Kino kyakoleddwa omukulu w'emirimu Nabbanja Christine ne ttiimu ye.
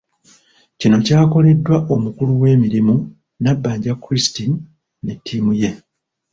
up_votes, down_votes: 0, 2